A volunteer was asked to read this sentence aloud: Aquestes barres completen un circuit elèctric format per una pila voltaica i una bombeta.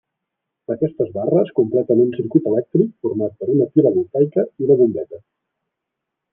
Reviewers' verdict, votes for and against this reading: rejected, 0, 2